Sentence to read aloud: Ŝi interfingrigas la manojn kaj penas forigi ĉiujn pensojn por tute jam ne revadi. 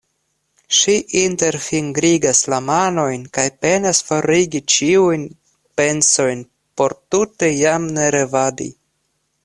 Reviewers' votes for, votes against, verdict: 2, 0, accepted